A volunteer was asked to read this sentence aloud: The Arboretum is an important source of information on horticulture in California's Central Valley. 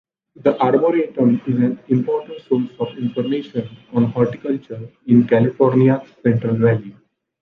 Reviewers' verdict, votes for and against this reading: accepted, 2, 0